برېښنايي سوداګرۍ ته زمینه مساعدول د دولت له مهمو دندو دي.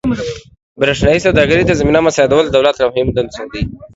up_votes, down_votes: 2, 0